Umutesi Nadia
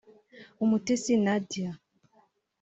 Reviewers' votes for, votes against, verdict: 3, 1, accepted